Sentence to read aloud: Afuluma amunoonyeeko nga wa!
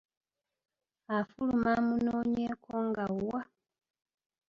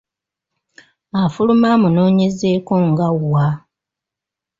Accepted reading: first